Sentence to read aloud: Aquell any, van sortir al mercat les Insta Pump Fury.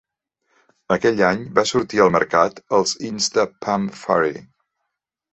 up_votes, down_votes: 1, 3